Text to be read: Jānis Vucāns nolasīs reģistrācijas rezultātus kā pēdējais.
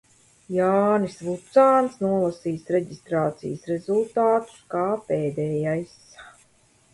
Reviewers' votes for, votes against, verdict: 2, 0, accepted